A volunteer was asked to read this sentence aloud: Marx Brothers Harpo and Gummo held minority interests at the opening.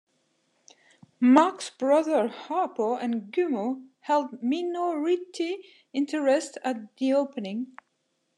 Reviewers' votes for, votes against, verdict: 0, 2, rejected